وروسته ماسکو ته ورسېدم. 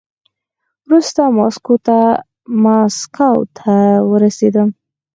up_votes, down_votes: 2, 4